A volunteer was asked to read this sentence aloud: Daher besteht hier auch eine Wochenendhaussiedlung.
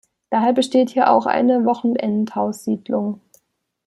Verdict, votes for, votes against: accepted, 2, 0